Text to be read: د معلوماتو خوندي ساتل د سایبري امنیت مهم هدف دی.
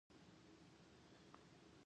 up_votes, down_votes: 0, 2